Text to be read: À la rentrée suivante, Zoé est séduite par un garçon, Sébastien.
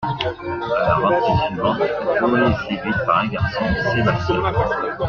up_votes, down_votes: 2, 1